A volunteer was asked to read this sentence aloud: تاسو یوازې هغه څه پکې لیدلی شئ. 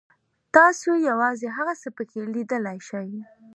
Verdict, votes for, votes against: accepted, 3, 1